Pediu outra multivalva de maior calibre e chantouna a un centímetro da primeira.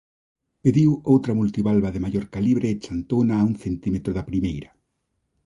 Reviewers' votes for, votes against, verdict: 2, 0, accepted